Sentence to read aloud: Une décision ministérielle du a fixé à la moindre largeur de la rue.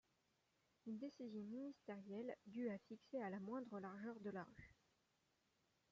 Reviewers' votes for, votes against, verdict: 2, 0, accepted